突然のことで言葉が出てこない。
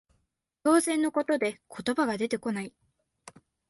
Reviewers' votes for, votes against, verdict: 0, 4, rejected